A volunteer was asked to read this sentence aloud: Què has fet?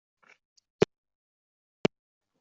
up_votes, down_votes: 0, 2